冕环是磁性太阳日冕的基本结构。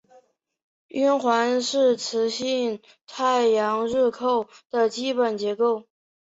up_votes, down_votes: 4, 2